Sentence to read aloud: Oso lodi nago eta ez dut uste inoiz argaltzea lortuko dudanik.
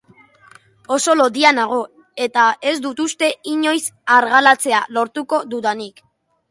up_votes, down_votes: 1, 2